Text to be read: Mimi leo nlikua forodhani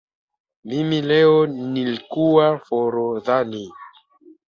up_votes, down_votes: 2, 1